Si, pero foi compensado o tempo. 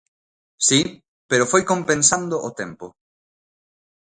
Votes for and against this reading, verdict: 0, 2, rejected